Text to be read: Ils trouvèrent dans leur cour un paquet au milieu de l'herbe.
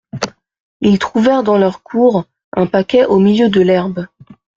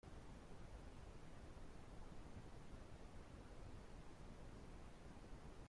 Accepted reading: first